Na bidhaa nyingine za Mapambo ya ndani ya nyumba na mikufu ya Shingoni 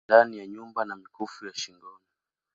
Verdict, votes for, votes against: rejected, 0, 2